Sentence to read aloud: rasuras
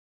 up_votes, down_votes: 0, 2